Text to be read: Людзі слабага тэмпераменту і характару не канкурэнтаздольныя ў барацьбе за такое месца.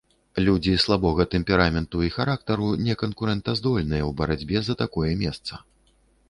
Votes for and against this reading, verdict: 1, 2, rejected